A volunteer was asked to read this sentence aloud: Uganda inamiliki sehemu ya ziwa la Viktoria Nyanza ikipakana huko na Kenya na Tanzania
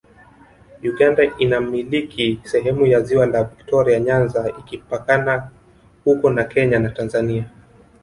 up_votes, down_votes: 5, 0